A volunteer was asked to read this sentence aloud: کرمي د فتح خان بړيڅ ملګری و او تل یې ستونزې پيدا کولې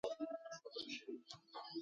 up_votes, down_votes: 0, 2